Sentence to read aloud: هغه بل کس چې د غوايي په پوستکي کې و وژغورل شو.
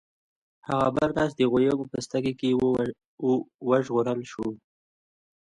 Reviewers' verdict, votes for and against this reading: accepted, 2, 1